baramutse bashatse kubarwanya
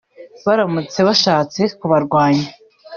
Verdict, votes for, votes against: accepted, 2, 0